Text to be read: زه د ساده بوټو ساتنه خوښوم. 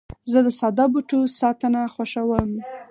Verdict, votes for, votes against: accepted, 4, 0